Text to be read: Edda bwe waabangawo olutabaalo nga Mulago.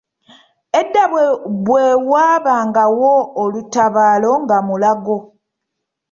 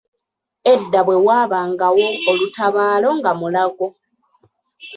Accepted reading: second